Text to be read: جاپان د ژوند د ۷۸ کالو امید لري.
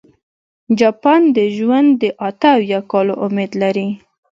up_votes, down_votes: 0, 2